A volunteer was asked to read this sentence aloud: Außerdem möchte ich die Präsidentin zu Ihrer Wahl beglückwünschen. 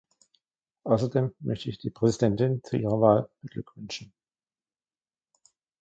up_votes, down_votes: 0, 2